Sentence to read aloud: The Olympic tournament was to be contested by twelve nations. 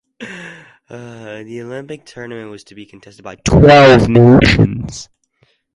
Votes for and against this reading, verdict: 0, 2, rejected